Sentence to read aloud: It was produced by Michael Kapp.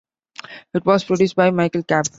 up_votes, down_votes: 2, 0